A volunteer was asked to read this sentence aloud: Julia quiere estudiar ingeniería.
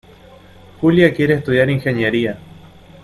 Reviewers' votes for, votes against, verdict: 2, 0, accepted